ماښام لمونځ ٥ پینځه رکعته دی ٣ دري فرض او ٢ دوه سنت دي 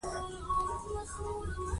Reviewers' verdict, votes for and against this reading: rejected, 0, 2